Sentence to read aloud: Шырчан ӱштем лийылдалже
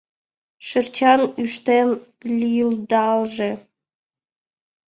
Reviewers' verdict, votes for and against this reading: accepted, 2, 1